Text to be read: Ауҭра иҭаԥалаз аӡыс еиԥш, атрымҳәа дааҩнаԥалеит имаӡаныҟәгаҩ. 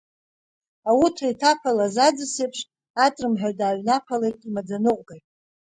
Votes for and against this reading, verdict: 2, 0, accepted